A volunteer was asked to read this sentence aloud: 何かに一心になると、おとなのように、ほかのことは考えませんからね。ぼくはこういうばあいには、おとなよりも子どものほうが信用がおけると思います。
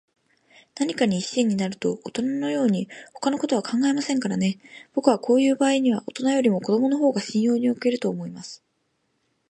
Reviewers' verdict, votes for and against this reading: rejected, 0, 2